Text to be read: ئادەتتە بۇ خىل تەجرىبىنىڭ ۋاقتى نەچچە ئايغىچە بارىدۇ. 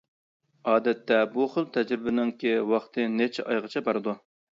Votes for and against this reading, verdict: 0, 2, rejected